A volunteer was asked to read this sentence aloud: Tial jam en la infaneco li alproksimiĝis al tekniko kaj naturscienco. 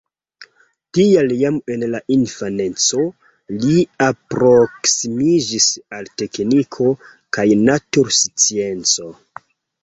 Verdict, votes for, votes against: rejected, 1, 2